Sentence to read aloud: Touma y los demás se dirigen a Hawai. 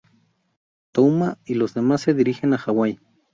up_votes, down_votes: 4, 0